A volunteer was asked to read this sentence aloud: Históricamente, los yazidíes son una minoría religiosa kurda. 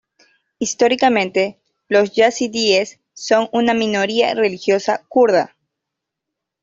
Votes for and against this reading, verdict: 2, 0, accepted